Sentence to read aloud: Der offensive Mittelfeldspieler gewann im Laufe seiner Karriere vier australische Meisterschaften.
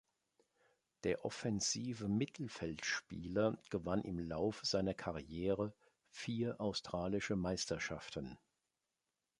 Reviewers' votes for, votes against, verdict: 2, 0, accepted